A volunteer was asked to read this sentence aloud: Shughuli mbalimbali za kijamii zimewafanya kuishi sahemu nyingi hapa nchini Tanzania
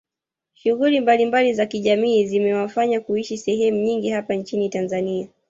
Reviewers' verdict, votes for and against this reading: rejected, 1, 2